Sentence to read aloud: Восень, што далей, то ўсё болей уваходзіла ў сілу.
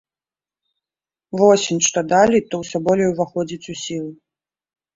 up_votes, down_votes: 0, 2